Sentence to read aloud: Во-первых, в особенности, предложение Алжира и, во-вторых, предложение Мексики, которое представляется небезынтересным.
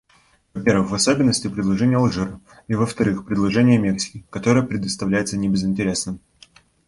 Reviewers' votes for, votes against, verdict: 2, 0, accepted